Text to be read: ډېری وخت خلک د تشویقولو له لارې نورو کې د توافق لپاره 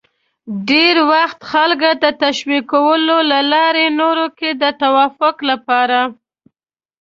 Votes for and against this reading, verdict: 2, 0, accepted